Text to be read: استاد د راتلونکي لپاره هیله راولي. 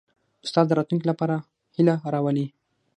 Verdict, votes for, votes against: accepted, 6, 0